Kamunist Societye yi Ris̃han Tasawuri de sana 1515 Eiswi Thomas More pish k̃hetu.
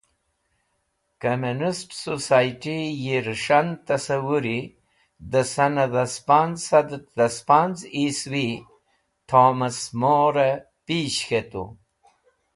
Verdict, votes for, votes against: rejected, 0, 2